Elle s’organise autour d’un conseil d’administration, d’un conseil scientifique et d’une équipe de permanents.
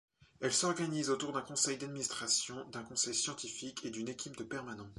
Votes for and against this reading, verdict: 2, 0, accepted